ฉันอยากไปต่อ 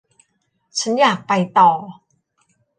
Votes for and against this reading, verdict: 2, 0, accepted